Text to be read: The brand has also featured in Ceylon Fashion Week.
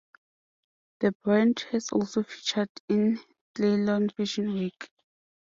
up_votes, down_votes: 2, 0